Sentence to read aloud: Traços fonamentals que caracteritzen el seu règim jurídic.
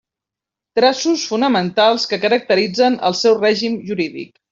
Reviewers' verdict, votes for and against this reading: accepted, 2, 0